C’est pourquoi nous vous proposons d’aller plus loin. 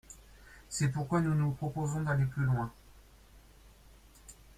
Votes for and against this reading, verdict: 1, 2, rejected